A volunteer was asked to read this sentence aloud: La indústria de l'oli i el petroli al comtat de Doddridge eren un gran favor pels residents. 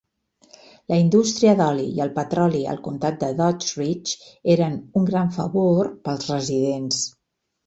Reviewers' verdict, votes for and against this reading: rejected, 1, 3